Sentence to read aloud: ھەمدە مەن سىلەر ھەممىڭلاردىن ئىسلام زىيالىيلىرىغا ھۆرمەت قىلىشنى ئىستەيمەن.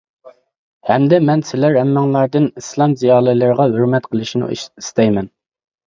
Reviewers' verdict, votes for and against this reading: rejected, 1, 2